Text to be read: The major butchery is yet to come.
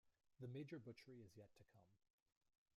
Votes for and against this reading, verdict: 0, 2, rejected